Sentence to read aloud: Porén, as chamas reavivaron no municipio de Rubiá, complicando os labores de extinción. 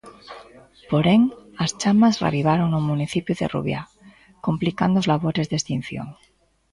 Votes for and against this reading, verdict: 2, 0, accepted